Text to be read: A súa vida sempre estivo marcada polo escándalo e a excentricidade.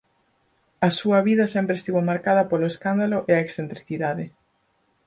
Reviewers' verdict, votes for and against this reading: accepted, 4, 0